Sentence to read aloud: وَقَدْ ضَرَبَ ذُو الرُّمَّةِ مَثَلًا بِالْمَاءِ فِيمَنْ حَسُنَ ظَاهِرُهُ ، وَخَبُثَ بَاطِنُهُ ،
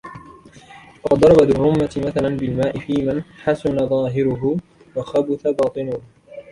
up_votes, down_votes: 0, 2